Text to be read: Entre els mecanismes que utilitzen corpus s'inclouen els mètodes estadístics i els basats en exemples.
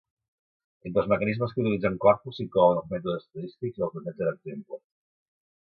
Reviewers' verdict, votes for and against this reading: rejected, 0, 2